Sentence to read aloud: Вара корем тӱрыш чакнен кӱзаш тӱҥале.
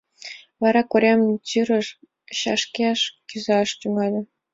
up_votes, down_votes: 2, 3